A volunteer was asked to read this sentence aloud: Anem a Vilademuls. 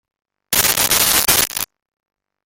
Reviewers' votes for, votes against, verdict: 0, 2, rejected